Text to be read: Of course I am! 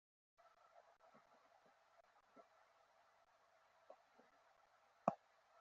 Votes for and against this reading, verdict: 0, 2, rejected